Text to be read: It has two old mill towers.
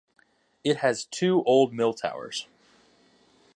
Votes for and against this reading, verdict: 2, 0, accepted